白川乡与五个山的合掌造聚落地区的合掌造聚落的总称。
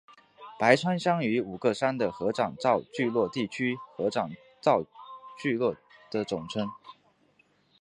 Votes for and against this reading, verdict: 2, 1, accepted